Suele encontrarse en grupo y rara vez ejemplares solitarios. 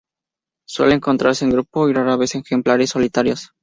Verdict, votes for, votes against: accepted, 2, 0